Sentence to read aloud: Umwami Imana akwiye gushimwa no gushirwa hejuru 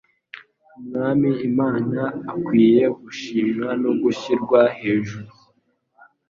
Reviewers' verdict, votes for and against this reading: accepted, 2, 0